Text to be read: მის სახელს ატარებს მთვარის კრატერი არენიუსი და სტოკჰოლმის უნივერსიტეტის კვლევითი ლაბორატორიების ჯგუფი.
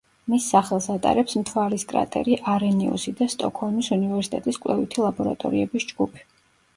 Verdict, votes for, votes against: accepted, 2, 0